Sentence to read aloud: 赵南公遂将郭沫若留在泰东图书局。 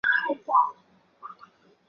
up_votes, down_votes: 2, 5